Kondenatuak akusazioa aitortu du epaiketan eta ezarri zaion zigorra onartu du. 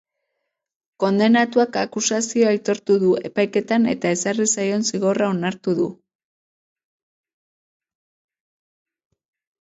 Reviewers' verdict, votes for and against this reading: rejected, 0, 2